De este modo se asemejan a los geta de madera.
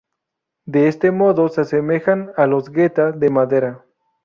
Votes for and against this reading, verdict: 0, 2, rejected